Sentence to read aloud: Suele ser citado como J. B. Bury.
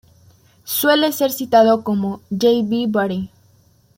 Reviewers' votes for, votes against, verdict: 1, 2, rejected